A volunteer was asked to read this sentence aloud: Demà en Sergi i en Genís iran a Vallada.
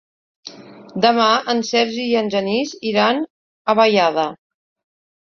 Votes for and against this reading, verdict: 2, 0, accepted